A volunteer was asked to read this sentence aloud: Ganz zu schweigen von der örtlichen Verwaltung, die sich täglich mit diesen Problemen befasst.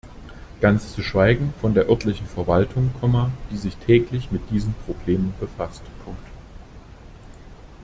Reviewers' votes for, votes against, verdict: 0, 2, rejected